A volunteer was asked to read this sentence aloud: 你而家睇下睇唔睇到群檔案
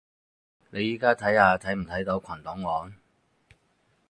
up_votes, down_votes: 2, 4